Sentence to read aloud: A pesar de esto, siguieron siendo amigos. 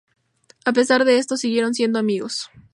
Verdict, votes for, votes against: accepted, 2, 0